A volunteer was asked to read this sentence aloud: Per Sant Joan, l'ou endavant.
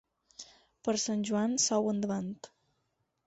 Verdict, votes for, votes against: rejected, 4, 6